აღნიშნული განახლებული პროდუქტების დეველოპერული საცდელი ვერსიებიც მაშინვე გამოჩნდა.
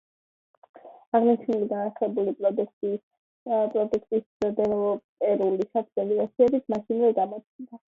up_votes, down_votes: 1, 2